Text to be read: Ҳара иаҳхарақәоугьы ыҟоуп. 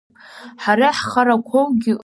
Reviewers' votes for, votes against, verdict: 0, 2, rejected